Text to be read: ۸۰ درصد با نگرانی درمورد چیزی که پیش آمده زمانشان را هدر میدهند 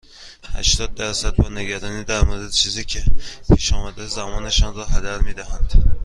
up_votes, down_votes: 0, 2